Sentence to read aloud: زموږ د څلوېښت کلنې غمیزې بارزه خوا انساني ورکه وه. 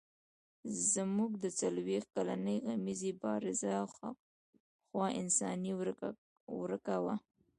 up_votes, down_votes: 0, 2